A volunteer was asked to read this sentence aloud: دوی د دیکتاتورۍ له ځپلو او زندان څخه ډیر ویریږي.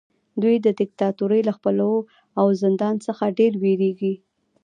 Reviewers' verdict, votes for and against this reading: accepted, 2, 0